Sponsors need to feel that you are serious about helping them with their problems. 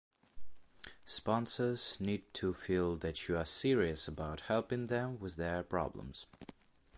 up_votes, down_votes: 2, 0